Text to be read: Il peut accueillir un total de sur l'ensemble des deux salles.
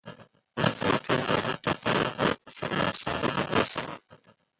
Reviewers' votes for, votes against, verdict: 0, 2, rejected